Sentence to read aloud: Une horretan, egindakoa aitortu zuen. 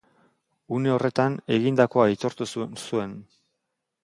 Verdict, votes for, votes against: rejected, 0, 2